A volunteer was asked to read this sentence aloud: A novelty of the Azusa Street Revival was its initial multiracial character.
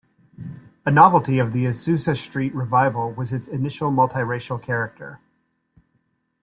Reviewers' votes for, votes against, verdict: 2, 0, accepted